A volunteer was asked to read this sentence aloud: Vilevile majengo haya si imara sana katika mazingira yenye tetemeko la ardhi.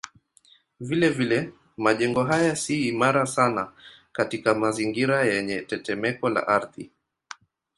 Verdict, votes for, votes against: accepted, 2, 0